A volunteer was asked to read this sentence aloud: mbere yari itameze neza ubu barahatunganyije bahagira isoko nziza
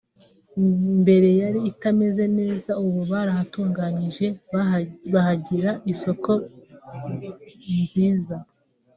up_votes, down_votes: 1, 2